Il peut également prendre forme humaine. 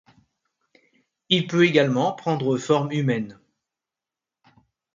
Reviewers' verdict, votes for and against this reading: accepted, 2, 0